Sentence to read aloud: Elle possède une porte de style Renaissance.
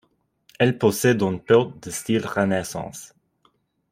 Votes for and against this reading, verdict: 1, 2, rejected